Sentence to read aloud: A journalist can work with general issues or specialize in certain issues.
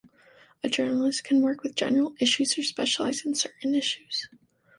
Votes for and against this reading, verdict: 2, 0, accepted